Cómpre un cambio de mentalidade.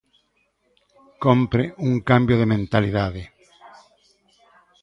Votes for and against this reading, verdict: 2, 1, accepted